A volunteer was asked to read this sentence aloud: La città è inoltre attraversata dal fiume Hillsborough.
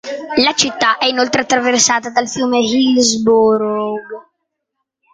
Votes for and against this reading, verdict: 2, 0, accepted